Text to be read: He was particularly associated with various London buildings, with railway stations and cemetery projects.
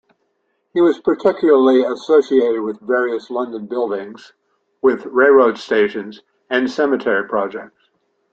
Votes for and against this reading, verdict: 1, 2, rejected